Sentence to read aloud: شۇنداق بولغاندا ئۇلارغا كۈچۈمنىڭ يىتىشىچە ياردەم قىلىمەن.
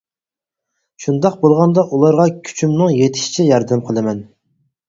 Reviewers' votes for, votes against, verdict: 4, 0, accepted